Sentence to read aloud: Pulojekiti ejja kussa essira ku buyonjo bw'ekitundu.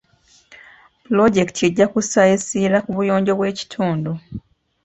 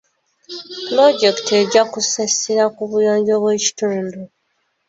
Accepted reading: first